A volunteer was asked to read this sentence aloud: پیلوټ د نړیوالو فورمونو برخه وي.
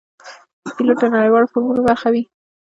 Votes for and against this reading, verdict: 2, 1, accepted